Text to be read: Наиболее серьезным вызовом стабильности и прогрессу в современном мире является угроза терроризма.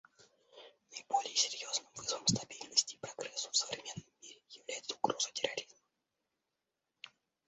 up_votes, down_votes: 1, 2